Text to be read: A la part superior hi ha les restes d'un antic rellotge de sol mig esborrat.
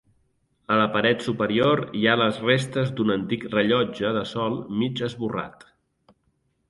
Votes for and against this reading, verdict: 0, 2, rejected